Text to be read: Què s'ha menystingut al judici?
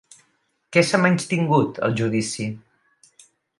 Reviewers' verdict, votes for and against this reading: accepted, 2, 0